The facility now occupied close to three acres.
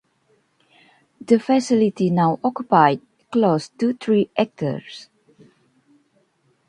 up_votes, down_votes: 1, 2